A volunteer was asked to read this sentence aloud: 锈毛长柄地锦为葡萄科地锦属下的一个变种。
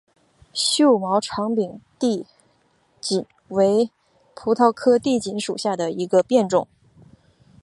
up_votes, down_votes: 6, 0